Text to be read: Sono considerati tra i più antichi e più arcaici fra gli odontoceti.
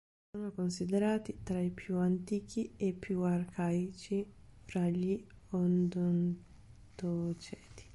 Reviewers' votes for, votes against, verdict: 0, 3, rejected